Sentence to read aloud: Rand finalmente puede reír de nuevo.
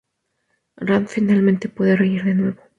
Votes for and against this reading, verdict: 2, 0, accepted